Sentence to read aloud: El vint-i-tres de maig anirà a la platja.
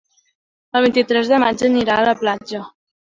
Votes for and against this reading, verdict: 5, 0, accepted